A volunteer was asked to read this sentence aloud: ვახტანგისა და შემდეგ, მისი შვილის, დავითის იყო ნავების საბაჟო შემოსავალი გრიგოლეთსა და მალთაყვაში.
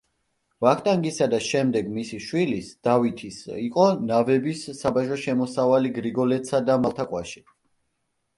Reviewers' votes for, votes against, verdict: 1, 2, rejected